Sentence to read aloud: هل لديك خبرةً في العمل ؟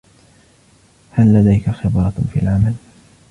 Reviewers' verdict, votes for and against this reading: rejected, 1, 2